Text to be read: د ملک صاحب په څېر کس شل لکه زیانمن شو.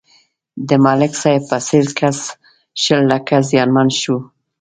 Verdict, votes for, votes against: accepted, 2, 0